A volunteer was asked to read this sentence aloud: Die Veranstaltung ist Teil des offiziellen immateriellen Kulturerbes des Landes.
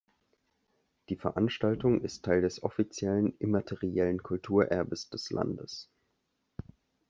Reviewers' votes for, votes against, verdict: 2, 0, accepted